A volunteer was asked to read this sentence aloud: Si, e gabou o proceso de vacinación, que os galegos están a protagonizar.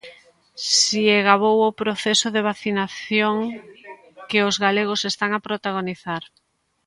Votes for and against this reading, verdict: 2, 1, accepted